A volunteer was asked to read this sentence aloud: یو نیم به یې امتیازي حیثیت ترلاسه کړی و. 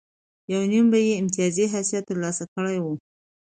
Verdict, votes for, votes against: accepted, 2, 0